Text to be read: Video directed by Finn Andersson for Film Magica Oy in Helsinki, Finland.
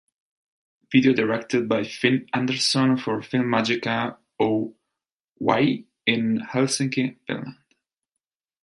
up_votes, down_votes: 1, 2